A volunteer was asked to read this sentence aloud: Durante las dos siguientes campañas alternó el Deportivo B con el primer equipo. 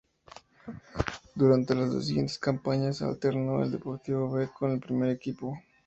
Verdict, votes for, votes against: accepted, 2, 0